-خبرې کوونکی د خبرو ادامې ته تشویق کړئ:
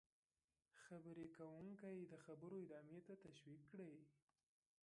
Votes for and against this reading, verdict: 2, 0, accepted